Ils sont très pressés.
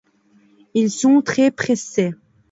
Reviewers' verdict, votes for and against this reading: accepted, 2, 0